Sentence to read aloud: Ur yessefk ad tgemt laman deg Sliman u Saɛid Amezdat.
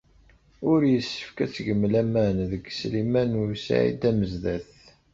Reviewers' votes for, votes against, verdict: 1, 2, rejected